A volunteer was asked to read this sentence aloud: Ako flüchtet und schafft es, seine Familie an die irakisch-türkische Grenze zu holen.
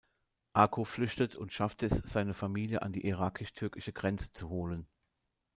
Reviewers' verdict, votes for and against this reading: accepted, 2, 0